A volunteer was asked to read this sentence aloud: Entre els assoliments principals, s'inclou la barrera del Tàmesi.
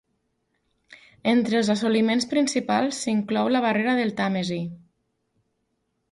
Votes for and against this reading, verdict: 4, 0, accepted